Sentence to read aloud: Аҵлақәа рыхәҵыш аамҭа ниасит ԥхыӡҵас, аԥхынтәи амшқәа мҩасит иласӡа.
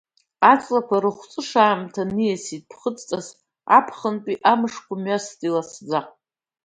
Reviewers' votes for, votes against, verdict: 2, 0, accepted